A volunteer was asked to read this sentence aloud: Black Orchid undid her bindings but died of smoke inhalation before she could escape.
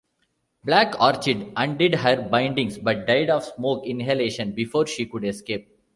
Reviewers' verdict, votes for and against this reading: accepted, 2, 0